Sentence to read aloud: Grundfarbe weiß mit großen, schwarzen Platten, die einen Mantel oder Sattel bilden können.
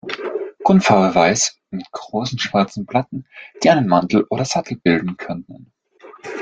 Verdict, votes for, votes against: accepted, 2, 1